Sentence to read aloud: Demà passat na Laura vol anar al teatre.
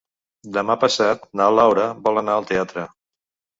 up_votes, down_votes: 3, 0